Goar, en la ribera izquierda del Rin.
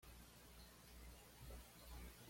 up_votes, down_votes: 0, 2